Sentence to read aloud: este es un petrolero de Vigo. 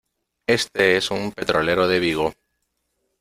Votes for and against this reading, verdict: 2, 0, accepted